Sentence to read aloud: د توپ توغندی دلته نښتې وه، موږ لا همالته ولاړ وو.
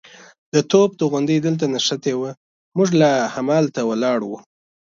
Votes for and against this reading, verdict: 2, 0, accepted